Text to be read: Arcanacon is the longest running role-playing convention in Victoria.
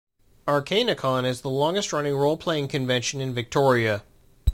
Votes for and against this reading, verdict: 2, 0, accepted